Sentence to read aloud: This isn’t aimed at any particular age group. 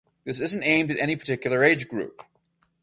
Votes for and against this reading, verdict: 4, 0, accepted